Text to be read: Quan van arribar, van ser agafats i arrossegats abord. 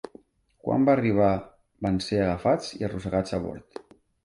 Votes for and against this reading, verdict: 1, 2, rejected